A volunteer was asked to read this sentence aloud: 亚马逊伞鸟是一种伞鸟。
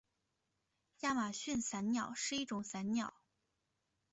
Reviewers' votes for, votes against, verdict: 2, 0, accepted